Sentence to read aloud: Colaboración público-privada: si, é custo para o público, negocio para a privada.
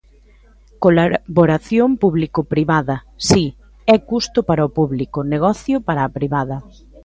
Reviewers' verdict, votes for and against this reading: rejected, 0, 2